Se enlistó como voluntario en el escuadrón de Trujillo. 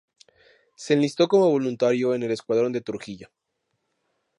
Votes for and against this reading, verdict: 4, 0, accepted